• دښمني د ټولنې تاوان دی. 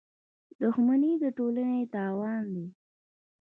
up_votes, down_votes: 1, 2